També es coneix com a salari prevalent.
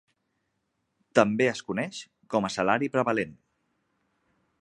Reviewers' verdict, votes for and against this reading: accepted, 2, 0